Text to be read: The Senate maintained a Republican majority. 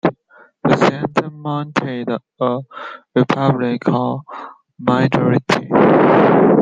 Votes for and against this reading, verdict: 0, 2, rejected